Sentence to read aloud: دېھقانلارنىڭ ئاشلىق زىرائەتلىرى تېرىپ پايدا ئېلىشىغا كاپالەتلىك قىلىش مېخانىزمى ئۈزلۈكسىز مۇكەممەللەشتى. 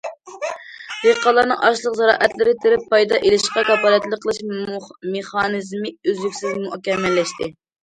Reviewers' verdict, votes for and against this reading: rejected, 0, 2